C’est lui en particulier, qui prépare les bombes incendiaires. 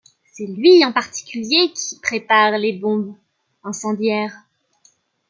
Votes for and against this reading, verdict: 2, 0, accepted